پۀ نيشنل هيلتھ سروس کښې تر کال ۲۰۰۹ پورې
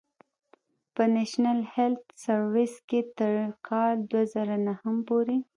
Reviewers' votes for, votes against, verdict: 0, 2, rejected